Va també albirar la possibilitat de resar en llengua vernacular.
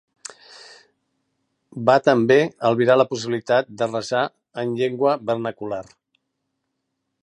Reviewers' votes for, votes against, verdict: 2, 1, accepted